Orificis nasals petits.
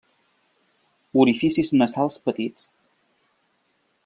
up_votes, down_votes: 2, 0